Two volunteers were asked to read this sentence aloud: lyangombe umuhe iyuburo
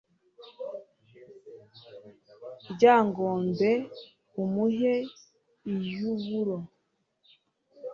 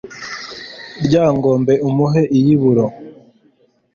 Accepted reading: second